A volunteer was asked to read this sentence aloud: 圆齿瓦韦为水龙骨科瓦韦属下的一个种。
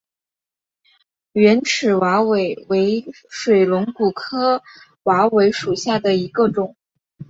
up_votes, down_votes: 3, 0